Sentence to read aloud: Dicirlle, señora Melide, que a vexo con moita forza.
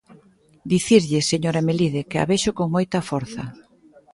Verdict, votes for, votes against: accepted, 8, 0